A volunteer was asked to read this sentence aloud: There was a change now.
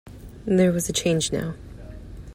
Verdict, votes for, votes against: accepted, 2, 0